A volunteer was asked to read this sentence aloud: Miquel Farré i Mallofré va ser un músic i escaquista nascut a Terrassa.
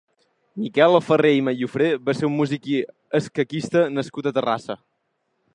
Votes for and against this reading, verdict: 2, 0, accepted